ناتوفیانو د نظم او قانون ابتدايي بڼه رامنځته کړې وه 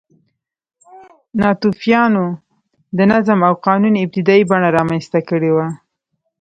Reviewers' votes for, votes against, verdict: 1, 2, rejected